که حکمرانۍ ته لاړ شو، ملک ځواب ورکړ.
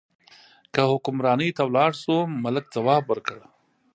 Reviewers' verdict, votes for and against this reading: rejected, 0, 2